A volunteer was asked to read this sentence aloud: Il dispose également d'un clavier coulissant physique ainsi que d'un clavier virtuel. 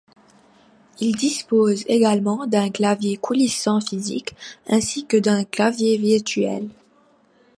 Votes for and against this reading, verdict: 2, 0, accepted